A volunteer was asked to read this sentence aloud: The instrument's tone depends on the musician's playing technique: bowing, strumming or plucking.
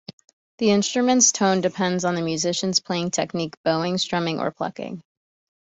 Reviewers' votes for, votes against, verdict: 2, 0, accepted